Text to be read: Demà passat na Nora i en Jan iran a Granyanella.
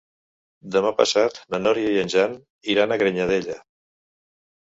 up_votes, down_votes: 2, 3